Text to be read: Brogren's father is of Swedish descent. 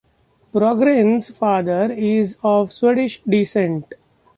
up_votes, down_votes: 2, 0